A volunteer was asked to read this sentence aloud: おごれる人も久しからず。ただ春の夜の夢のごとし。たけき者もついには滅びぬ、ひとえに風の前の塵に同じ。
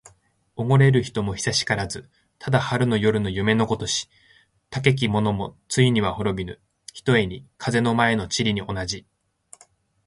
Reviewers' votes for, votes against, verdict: 2, 0, accepted